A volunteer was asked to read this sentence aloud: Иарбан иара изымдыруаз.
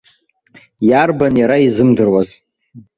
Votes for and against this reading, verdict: 2, 0, accepted